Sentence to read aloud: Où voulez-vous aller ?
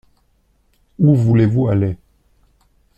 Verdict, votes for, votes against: accepted, 2, 0